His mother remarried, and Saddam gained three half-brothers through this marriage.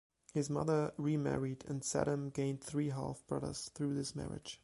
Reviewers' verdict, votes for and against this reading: accepted, 2, 0